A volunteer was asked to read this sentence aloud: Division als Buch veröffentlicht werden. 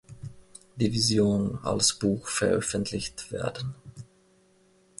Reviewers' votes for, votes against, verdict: 2, 0, accepted